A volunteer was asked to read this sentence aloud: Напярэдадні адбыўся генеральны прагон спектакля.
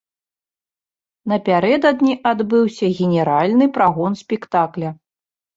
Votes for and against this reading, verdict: 2, 0, accepted